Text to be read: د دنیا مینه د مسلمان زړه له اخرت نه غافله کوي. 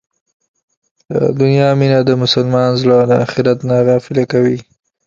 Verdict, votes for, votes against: accepted, 2, 0